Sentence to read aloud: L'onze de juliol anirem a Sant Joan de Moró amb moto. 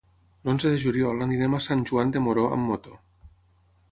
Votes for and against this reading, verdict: 6, 0, accepted